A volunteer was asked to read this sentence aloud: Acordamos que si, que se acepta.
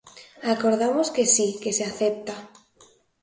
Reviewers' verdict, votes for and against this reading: accepted, 2, 0